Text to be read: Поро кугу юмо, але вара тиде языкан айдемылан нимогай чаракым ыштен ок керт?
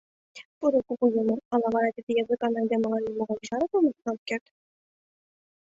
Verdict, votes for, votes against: rejected, 1, 3